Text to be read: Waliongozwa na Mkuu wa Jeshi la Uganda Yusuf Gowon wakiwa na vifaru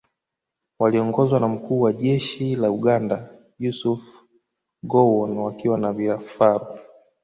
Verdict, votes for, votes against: rejected, 0, 2